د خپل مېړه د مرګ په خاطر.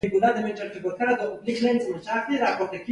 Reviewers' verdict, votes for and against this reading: accepted, 3, 1